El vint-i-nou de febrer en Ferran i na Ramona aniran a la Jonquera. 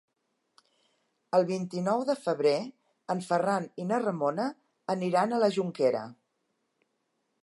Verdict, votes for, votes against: accepted, 3, 0